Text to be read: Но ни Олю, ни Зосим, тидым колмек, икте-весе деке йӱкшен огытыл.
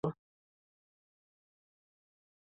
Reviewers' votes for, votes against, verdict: 0, 2, rejected